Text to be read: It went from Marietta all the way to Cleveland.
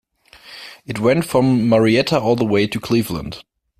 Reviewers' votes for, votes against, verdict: 2, 0, accepted